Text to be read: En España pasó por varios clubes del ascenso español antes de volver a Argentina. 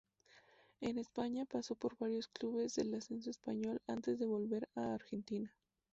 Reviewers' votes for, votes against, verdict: 2, 0, accepted